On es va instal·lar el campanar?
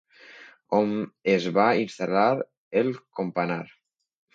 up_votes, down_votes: 1, 2